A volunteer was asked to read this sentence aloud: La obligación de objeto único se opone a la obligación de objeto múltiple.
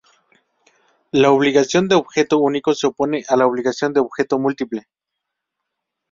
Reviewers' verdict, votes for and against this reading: accepted, 2, 0